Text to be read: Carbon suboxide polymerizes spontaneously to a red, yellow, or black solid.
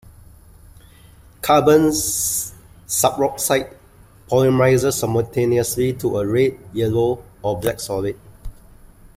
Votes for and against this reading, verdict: 0, 2, rejected